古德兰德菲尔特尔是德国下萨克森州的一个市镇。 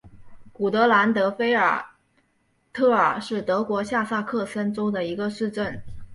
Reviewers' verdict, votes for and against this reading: rejected, 1, 2